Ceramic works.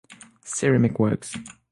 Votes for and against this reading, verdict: 6, 0, accepted